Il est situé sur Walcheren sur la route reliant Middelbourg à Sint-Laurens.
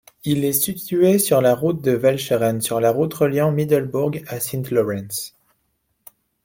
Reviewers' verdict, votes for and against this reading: rejected, 0, 2